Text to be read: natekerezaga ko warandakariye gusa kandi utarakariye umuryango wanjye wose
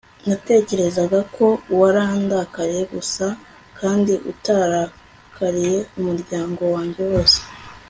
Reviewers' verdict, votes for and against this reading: accepted, 2, 0